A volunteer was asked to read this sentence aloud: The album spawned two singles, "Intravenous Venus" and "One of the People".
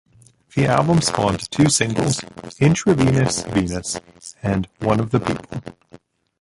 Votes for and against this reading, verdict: 0, 2, rejected